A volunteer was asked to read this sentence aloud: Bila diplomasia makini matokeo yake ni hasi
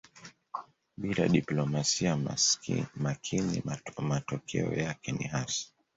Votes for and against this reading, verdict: 1, 2, rejected